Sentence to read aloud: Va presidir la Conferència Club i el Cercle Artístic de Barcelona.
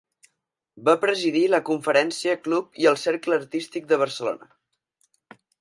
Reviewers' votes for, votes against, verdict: 4, 0, accepted